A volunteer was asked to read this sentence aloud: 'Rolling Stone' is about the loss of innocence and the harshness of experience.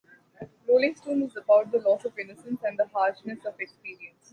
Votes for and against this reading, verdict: 2, 0, accepted